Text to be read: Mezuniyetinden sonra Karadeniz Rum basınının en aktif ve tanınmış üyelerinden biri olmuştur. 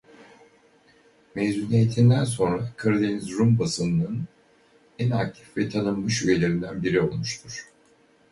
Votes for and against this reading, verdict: 2, 2, rejected